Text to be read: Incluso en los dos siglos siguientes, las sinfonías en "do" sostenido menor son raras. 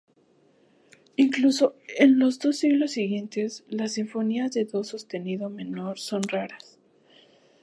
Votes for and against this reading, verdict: 2, 2, rejected